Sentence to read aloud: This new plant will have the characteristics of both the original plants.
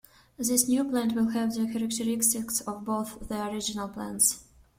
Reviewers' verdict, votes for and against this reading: rejected, 0, 2